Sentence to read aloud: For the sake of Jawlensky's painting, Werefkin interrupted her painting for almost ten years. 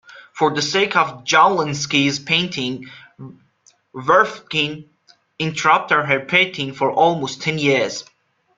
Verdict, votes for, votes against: rejected, 0, 2